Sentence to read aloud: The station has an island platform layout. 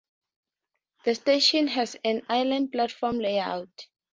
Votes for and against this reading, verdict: 6, 0, accepted